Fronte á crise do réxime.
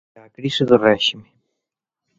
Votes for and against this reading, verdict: 0, 2, rejected